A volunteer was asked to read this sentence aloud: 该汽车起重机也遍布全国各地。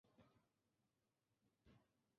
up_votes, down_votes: 0, 2